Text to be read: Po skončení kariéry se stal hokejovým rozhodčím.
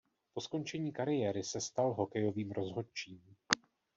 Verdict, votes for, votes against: rejected, 1, 2